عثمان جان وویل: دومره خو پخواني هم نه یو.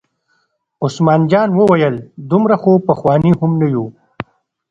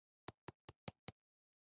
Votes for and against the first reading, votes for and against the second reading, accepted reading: 2, 0, 0, 2, first